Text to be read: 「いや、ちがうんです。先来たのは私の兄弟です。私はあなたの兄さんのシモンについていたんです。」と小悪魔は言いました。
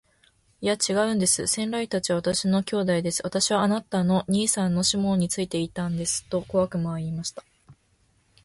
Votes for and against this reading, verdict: 1, 2, rejected